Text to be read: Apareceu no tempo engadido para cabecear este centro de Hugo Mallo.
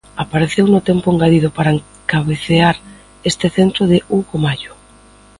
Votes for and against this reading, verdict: 0, 2, rejected